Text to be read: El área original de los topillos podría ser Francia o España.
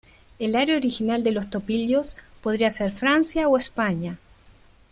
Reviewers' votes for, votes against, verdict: 1, 2, rejected